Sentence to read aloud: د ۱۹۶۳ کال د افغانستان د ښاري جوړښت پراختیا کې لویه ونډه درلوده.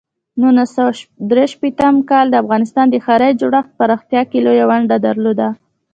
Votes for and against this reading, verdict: 0, 2, rejected